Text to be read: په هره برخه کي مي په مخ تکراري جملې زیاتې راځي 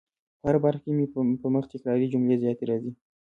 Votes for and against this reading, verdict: 2, 0, accepted